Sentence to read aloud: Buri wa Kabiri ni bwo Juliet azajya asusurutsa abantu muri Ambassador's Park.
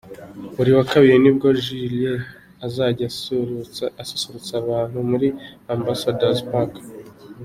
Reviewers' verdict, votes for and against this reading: rejected, 0, 2